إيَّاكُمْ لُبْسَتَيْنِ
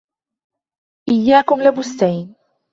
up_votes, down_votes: 1, 2